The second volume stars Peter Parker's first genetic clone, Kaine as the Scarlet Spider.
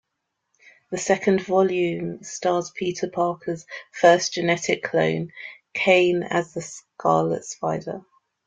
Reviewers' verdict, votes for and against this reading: accepted, 2, 0